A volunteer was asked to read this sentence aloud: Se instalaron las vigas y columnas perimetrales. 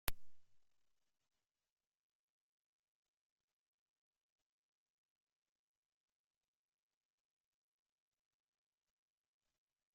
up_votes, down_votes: 0, 2